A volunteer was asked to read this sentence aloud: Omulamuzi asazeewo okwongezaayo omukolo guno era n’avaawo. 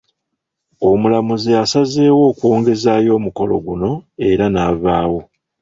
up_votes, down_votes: 0, 2